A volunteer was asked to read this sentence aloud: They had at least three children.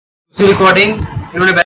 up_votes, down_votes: 0, 2